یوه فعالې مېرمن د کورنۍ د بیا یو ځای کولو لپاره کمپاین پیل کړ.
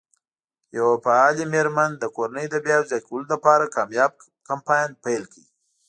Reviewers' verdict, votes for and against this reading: accepted, 2, 0